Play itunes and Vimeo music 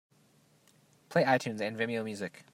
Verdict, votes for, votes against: accepted, 2, 0